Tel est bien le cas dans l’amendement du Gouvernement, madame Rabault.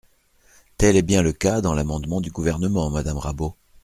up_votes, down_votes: 2, 0